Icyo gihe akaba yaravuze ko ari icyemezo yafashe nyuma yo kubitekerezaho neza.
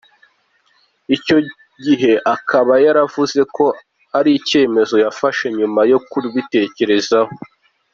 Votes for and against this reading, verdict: 0, 2, rejected